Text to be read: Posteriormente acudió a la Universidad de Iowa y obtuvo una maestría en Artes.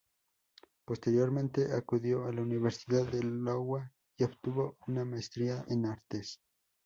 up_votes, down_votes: 0, 2